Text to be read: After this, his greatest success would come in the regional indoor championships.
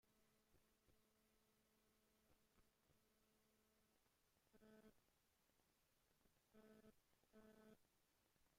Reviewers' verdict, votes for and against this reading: rejected, 0, 2